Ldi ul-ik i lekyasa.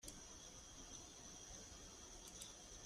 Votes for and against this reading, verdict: 0, 2, rejected